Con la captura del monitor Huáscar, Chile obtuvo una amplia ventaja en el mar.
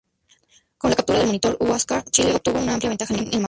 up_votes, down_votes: 0, 2